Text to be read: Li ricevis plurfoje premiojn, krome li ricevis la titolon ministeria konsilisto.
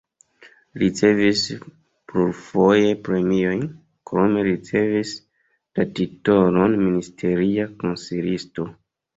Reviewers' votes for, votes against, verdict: 0, 2, rejected